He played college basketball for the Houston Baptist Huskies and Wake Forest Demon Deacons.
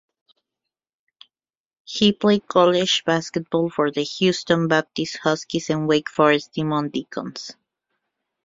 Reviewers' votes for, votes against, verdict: 2, 0, accepted